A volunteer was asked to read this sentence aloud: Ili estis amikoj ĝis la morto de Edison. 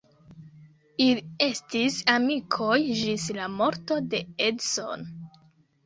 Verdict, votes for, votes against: rejected, 0, 2